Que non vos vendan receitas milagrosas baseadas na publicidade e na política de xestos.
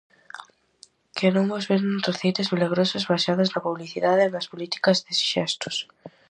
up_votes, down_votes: 0, 4